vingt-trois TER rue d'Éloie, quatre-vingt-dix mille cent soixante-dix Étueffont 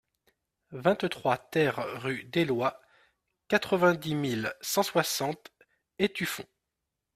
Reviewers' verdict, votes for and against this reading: rejected, 1, 2